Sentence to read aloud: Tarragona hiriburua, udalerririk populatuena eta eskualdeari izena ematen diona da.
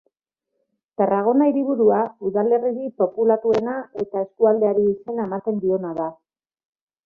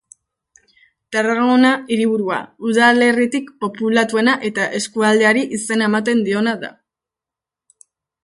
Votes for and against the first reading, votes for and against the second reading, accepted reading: 2, 1, 0, 2, first